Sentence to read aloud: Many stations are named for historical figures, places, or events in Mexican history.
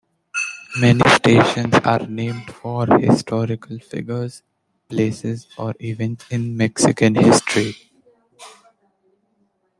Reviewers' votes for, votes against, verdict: 2, 1, accepted